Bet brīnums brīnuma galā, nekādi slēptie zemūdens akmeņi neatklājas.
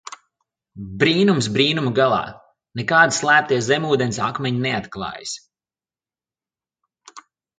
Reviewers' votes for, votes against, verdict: 1, 2, rejected